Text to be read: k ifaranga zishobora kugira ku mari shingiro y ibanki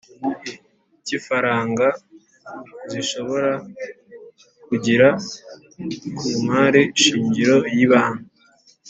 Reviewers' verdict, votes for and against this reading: accepted, 2, 0